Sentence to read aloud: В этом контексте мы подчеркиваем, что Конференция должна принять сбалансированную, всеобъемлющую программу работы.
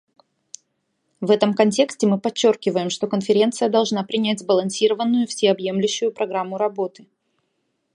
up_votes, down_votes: 2, 0